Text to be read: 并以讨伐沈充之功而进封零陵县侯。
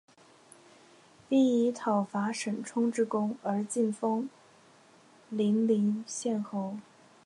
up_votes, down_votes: 3, 0